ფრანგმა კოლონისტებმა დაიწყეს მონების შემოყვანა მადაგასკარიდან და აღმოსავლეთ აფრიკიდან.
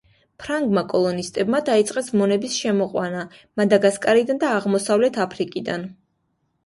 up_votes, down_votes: 2, 1